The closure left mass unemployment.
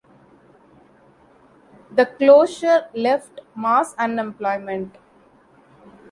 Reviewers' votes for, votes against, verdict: 2, 0, accepted